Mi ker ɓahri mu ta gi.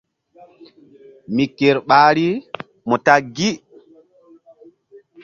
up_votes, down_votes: 2, 0